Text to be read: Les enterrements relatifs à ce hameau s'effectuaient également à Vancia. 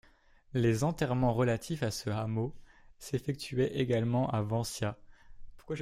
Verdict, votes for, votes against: rejected, 0, 2